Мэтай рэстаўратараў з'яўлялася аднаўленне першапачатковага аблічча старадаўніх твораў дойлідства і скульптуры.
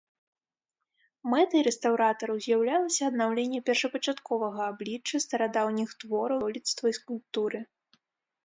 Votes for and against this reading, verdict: 0, 2, rejected